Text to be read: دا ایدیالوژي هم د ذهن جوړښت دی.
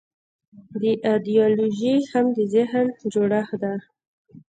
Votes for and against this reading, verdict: 2, 0, accepted